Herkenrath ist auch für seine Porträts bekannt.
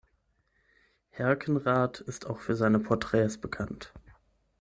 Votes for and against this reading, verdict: 6, 0, accepted